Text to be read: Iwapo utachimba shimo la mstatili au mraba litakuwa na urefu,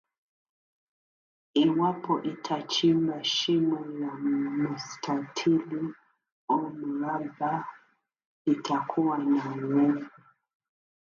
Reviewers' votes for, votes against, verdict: 2, 0, accepted